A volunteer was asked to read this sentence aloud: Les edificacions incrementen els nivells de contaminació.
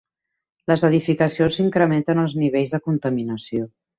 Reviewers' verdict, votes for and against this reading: rejected, 0, 2